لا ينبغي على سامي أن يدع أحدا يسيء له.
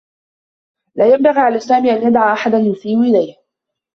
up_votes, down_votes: 1, 2